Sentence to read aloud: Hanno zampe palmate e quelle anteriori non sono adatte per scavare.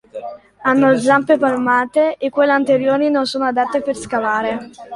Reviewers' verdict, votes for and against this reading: accepted, 2, 1